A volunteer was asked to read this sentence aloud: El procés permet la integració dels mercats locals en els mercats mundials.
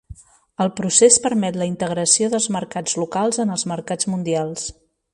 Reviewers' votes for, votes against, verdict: 3, 0, accepted